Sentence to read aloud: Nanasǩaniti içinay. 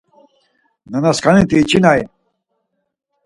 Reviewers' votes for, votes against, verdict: 4, 0, accepted